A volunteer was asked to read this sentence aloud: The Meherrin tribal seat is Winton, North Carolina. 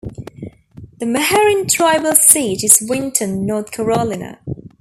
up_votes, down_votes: 1, 2